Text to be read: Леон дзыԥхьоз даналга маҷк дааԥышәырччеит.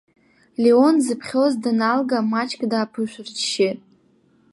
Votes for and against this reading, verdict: 2, 0, accepted